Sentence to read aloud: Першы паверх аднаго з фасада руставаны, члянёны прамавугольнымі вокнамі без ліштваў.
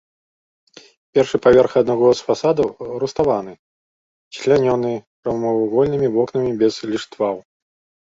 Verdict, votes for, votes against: rejected, 0, 2